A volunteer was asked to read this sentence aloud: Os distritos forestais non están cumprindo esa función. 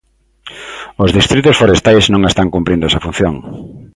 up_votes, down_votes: 2, 0